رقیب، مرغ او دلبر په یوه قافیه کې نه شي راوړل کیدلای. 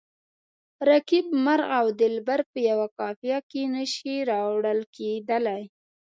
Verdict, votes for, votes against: accepted, 2, 0